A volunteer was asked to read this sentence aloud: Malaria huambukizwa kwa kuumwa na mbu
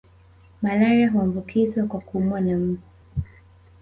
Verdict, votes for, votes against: accepted, 2, 0